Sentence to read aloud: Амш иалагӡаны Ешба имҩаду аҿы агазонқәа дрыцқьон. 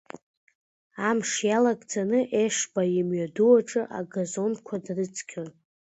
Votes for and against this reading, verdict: 2, 0, accepted